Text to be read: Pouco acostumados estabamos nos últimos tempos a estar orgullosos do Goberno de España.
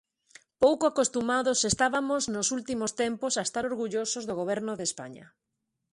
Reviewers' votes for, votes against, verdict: 0, 2, rejected